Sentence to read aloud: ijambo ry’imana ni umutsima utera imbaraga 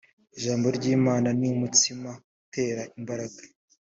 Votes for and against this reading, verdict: 3, 0, accepted